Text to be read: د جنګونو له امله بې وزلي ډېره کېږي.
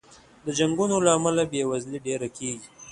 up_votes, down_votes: 2, 0